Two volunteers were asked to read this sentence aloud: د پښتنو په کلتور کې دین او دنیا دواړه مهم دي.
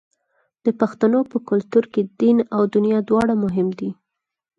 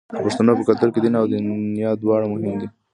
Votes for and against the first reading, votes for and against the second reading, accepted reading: 4, 0, 1, 2, first